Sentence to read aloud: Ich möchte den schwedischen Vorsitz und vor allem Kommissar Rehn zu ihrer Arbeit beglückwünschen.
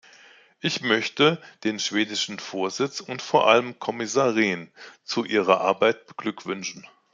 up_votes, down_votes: 2, 0